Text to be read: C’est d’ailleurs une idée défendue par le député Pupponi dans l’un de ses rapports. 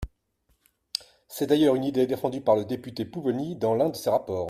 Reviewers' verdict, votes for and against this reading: accepted, 2, 0